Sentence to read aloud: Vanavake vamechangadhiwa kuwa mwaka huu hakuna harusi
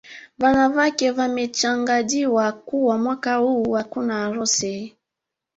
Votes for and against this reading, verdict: 2, 3, rejected